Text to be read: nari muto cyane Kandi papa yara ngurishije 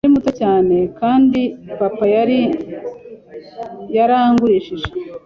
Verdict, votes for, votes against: rejected, 1, 2